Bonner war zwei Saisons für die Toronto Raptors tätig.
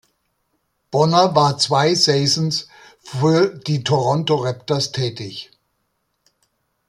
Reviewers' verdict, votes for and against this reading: rejected, 1, 2